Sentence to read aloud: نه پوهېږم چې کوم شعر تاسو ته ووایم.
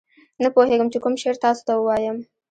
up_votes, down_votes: 2, 0